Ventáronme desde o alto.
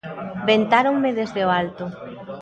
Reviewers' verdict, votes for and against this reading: accepted, 2, 0